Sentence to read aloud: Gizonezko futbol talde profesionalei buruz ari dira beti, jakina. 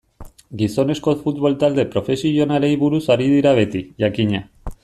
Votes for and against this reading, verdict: 2, 0, accepted